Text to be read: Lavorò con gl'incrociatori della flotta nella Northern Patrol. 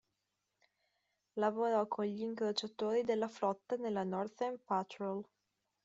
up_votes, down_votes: 0, 2